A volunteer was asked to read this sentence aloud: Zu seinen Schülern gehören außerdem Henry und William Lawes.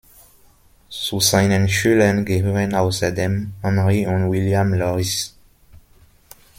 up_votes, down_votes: 0, 2